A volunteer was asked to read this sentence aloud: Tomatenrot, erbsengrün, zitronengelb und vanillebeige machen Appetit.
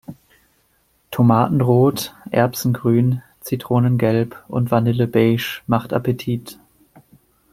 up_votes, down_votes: 0, 2